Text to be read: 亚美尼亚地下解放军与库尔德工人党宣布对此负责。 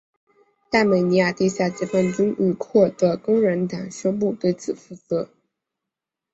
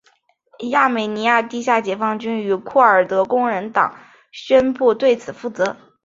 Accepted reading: second